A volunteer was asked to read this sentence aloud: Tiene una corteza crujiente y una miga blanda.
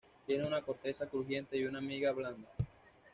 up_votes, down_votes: 2, 0